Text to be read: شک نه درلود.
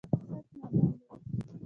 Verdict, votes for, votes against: rejected, 1, 2